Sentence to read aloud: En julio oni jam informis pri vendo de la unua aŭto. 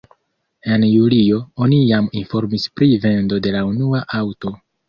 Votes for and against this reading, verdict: 1, 2, rejected